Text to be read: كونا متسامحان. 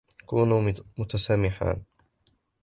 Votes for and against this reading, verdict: 2, 1, accepted